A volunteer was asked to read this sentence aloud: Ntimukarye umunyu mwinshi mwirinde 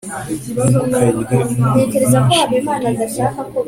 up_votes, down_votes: 2, 1